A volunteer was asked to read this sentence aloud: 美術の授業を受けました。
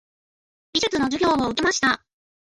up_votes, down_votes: 2, 1